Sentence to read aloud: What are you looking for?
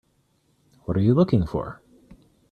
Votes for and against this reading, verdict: 2, 0, accepted